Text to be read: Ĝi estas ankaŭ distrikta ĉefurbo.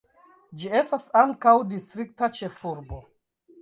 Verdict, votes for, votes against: accepted, 2, 1